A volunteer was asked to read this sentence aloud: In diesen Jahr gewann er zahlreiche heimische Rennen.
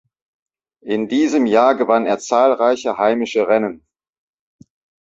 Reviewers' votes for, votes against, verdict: 2, 0, accepted